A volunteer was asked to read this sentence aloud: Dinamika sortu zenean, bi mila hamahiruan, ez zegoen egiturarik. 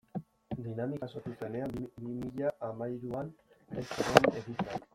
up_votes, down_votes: 0, 2